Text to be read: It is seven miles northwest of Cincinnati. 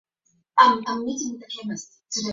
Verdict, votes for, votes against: rejected, 0, 4